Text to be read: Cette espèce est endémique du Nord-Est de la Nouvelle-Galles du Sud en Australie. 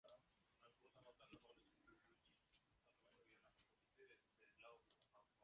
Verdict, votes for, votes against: rejected, 0, 2